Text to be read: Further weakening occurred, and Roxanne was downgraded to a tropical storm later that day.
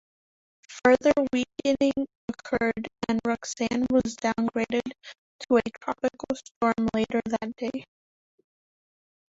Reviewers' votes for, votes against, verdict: 0, 2, rejected